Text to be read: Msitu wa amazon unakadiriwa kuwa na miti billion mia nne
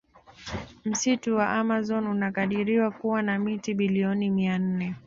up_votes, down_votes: 2, 0